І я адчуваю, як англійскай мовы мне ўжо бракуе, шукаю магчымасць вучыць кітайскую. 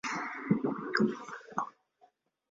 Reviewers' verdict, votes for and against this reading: rejected, 0, 2